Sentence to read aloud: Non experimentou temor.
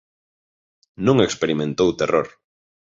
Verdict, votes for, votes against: rejected, 1, 2